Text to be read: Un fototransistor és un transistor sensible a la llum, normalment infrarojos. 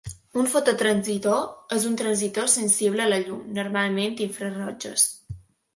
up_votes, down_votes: 1, 2